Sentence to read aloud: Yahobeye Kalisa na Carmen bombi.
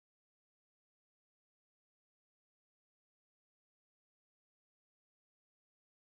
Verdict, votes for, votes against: rejected, 1, 2